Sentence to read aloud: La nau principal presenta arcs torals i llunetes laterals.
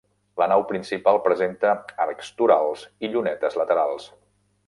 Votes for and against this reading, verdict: 2, 0, accepted